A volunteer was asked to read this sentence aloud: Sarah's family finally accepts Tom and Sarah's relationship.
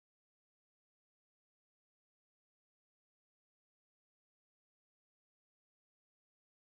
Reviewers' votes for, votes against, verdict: 0, 3, rejected